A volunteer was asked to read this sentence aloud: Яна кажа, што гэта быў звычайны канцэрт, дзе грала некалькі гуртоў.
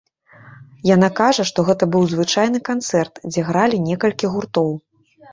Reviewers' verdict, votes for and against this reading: rejected, 0, 2